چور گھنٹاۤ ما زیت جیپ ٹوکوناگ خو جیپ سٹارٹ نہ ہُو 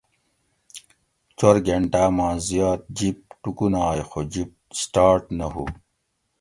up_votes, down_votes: 2, 1